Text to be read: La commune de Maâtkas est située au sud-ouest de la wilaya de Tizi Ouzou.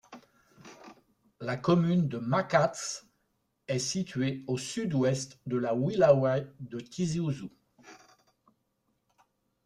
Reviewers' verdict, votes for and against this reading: rejected, 0, 2